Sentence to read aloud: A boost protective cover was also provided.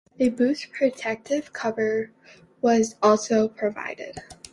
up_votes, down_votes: 2, 0